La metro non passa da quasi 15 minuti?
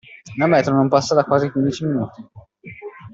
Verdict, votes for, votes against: rejected, 0, 2